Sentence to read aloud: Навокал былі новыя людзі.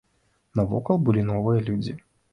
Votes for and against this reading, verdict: 2, 0, accepted